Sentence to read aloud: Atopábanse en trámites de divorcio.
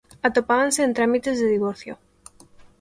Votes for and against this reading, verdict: 2, 0, accepted